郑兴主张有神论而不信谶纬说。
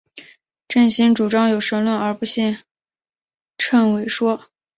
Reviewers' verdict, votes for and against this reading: accepted, 2, 1